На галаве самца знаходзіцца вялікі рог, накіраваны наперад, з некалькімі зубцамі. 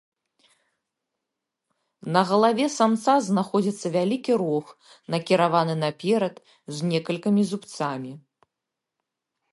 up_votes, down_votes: 0, 2